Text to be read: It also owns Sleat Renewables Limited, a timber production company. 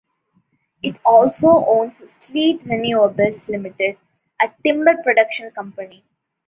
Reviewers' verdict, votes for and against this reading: accepted, 2, 0